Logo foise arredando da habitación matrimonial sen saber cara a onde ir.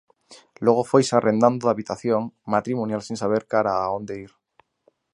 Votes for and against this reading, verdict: 0, 2, rejected